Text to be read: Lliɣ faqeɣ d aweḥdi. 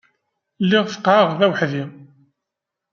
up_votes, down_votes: 0, 2